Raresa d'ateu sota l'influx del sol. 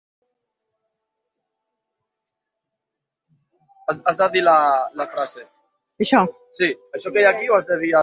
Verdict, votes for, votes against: rejected, 0, 2